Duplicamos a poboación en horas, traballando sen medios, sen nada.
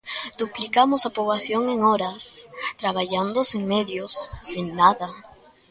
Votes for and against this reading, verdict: 2, 0, accepted